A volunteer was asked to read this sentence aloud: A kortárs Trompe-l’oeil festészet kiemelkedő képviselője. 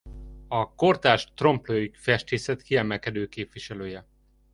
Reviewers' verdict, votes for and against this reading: accepted, 2, 0